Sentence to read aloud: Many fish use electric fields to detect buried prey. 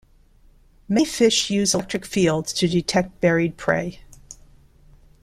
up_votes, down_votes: 1, 2